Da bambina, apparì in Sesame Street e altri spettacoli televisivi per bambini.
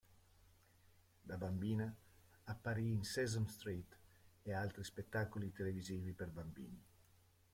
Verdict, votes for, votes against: accepted, 2, 0